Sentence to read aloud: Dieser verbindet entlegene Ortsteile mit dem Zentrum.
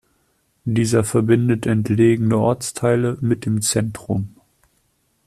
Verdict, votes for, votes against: accepted, 2, 0